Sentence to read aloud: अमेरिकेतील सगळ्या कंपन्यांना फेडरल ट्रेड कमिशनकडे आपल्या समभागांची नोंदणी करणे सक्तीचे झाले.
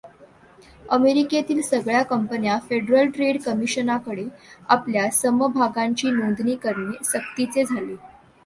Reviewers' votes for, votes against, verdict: 0, 2, rejected